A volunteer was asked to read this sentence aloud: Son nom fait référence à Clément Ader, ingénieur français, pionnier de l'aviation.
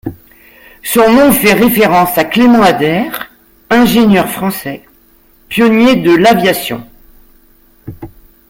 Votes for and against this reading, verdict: 2, 0, accepted